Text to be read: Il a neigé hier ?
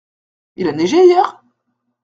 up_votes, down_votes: 2, 0